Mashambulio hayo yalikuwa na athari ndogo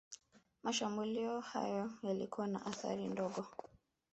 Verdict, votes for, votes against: rejected, 1, 2